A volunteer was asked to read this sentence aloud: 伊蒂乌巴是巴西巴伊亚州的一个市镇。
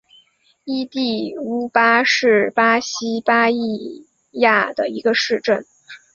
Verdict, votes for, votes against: rejected, 1, 2